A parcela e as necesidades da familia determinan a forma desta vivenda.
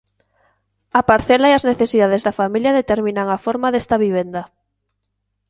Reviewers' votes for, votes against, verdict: 2, 0, accepted